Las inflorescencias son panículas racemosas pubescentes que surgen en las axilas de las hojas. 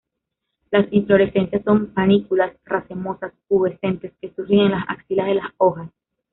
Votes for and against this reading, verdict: 1, 2, rejected